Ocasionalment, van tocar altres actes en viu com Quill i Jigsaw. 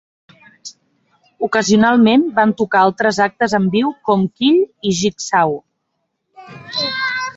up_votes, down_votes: 0, 2